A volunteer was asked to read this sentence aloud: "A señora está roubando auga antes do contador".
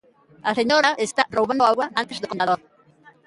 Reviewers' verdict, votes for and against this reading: rejected, 0, 2